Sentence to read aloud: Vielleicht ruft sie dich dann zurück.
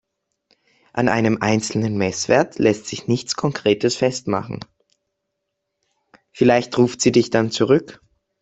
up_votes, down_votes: 0, 3